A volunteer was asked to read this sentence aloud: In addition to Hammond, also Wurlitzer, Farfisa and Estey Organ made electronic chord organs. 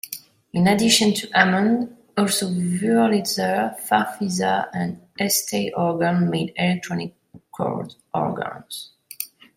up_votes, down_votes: 0, 2